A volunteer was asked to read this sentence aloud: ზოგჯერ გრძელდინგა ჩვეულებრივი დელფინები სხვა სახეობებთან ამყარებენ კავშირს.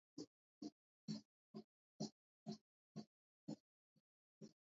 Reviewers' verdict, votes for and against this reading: rejected, 0, 2